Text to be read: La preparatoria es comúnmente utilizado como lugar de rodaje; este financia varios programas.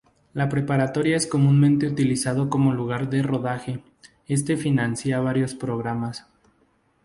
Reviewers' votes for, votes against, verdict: 2, 0, accepted